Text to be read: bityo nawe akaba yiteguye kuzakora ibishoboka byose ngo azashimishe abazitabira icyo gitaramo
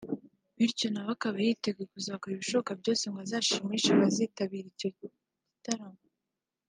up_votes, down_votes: 2, 0